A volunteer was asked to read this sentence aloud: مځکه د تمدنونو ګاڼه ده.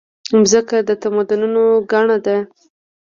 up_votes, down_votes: 0, 2